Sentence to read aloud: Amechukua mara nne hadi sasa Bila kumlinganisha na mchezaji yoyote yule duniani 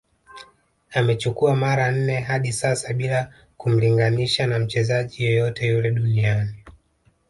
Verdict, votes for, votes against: rejected, 1, 2